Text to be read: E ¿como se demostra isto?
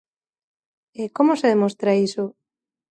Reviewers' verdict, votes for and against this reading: rejected, 1, 2